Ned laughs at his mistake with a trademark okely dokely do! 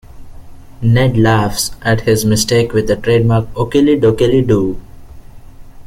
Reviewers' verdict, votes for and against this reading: accepted, 2, 0